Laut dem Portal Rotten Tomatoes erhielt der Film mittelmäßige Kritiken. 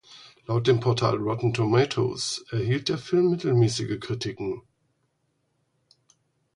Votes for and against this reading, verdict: 4, 0, accepted